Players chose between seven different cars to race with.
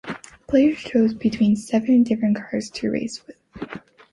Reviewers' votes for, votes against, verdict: 2, 0, accepted